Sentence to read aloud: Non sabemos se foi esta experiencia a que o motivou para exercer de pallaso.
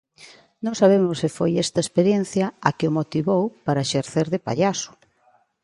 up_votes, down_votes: 2, 0